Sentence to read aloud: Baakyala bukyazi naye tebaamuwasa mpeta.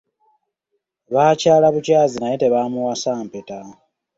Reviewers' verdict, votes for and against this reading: accepted, 2, 0